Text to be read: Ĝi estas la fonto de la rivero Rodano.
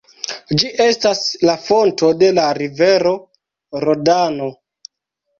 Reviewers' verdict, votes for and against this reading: rejected, 0, 2